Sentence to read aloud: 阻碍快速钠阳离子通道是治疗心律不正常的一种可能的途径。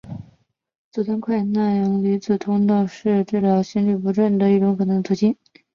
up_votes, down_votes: 0, 2